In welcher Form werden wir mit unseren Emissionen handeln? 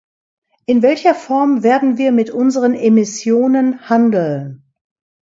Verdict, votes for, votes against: rejected, 1, 2